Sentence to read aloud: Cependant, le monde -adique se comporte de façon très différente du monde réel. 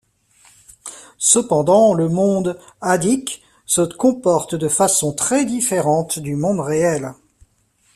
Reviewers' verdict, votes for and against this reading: rejected, 0, 2